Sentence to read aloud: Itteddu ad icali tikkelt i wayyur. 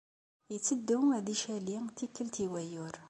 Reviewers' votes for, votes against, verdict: 2, 0, accepted